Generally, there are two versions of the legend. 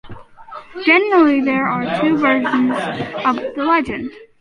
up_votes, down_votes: 2, 1